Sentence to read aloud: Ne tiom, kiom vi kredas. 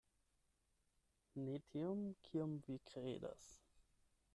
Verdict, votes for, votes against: accepted, 8, 4